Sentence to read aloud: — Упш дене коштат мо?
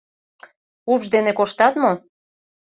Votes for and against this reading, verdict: 2, 0, accepted